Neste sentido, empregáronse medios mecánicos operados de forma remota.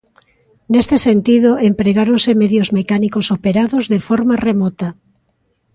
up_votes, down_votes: 2, 0